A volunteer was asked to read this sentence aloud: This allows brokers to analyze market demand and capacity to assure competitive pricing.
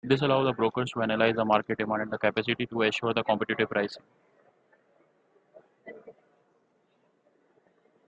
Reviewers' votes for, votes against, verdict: 1, 2, rejected